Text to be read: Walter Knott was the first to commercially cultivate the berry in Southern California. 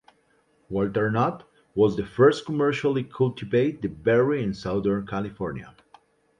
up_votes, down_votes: 0, 2